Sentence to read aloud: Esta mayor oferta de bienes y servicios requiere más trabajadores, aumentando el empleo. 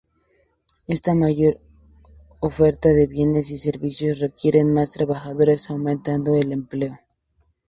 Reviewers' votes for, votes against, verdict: 2, 0, accepted